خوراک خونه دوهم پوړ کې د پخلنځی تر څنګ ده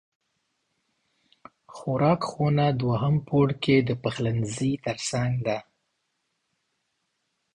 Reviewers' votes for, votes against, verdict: 2, 0, accepted